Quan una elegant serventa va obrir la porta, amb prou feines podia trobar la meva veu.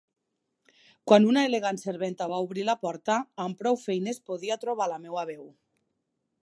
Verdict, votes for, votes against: accepted, 2, 0